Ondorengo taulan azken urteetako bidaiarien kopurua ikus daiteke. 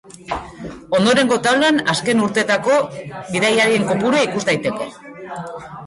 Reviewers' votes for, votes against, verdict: 2, 0, accepted